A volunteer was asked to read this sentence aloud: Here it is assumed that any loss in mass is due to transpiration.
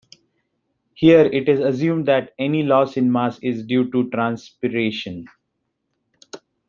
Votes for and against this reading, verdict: 2, 0, accepted